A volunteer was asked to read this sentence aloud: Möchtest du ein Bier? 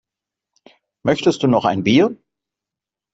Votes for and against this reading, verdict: 0, 2, rejected